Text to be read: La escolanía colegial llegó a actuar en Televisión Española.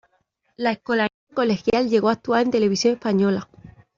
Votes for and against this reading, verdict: 1, 2, rejected